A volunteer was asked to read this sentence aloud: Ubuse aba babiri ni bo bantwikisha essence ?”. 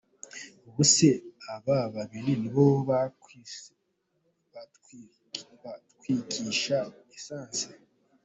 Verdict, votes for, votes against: accepted, 2, 0